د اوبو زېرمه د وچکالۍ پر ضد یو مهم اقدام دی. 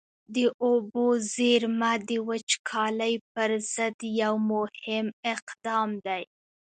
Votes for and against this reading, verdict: 1, 2, rejected